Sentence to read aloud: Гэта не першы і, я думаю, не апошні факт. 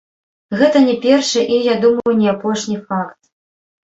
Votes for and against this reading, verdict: 1, 2, rejected